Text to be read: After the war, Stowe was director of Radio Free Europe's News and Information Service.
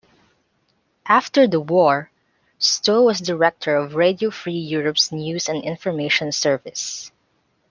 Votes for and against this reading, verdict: 2, 0, accepted